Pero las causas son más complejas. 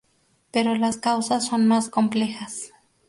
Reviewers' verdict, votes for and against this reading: rejected, 0, 2